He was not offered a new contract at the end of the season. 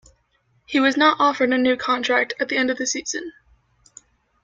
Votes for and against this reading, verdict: 2, 0, accepted